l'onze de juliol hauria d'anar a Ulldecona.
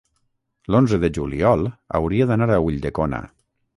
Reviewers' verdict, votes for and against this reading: rejected, 3, 3